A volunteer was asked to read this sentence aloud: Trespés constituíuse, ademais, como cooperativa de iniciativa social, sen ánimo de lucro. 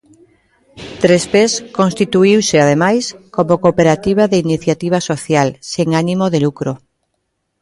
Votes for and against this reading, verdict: 2, 0, accepted